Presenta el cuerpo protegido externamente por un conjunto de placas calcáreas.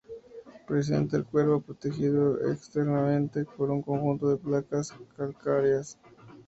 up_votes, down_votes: 0, 2